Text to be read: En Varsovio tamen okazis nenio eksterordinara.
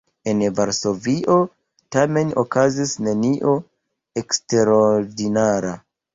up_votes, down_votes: 0, 2